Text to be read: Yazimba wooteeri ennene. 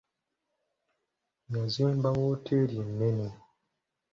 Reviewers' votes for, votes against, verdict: 2, 0, accepted